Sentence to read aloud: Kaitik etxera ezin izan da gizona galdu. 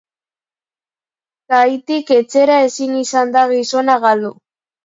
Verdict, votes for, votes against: accepted, 3, 2